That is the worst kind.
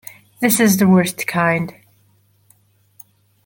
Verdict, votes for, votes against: rejected, 0, 2